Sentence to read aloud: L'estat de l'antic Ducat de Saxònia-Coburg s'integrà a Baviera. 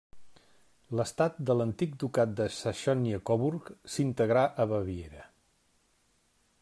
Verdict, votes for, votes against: rejected, 0, 2